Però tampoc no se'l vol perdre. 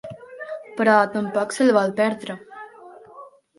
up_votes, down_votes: 0, 3